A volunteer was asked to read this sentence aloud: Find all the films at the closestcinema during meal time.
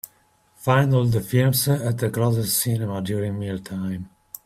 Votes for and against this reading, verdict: 2, 0, accepted